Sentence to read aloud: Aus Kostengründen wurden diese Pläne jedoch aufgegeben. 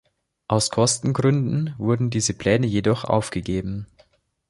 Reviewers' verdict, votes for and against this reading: accepted, 2, 0